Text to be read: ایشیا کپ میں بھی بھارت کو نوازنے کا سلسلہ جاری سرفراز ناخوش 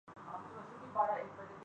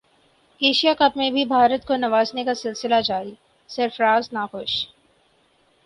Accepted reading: second